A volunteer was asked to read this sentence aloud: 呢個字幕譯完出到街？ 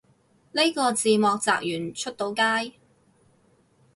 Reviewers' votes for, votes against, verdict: 2, 4, rejected